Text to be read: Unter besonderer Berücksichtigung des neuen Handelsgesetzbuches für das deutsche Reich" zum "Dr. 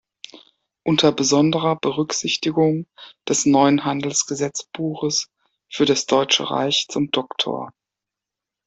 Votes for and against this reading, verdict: 2, 0, accepted